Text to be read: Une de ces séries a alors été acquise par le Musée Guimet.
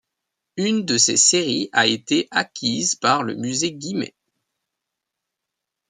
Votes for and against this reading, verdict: 0, 2, rejected